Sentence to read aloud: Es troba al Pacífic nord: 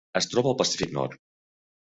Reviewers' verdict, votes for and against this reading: rejected, 0, 2